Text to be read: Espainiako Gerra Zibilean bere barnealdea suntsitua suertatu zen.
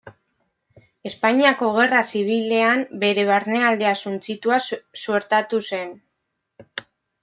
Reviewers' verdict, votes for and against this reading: rejected, 1, 2